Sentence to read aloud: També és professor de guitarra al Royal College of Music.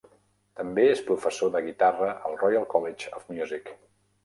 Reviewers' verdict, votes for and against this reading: accepted, 3, 0